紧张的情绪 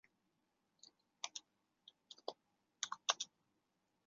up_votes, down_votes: 0, 2